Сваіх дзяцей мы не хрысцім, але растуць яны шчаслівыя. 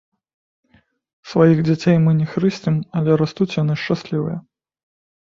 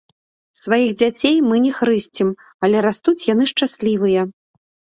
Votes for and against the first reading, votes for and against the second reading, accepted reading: 0, 2, 2, 0, second